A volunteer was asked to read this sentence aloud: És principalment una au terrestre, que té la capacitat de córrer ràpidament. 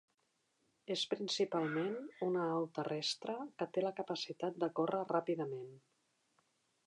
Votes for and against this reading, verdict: 1, 2, rejected